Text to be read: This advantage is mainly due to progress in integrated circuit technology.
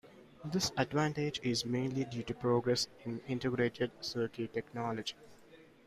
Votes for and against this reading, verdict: 2, 1, accepted